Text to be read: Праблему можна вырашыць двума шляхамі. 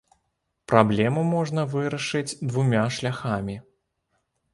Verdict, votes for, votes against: rejected, 0, 2